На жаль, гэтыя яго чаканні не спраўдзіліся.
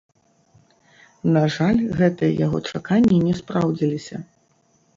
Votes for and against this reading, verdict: 0, 2, rejected